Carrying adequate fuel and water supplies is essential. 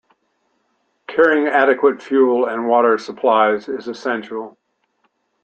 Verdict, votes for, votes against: rejected, 0, 2